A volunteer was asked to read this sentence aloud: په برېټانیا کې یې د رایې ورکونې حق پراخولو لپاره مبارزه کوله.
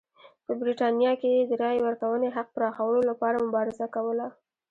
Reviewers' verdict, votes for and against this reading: accepted, 2, 0